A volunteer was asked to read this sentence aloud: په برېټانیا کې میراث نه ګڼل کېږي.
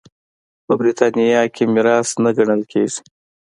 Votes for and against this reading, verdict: 3, 1, accepted